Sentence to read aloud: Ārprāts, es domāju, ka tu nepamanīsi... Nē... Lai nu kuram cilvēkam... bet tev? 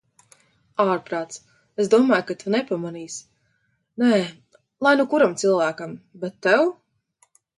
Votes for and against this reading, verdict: 2, 0, accepted